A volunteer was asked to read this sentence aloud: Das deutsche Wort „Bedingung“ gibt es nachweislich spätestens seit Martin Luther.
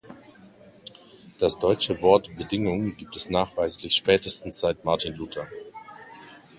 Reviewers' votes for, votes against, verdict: 2, 0, accepted